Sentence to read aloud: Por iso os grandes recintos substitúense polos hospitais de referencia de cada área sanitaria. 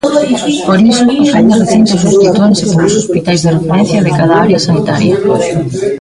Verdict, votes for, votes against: rejected, 0, 2